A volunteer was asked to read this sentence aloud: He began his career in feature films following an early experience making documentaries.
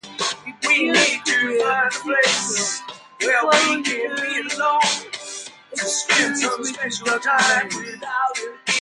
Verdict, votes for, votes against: rejected, 0, 2